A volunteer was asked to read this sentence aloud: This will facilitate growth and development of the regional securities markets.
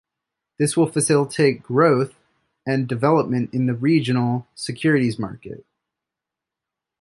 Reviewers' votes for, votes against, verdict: 1, 2, rejected